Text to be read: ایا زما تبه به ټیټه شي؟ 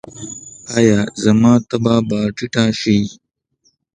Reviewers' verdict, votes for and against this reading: accepted, 2, 0